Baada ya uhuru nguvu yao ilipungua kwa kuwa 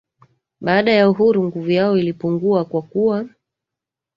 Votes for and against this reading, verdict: 2, 1, accepted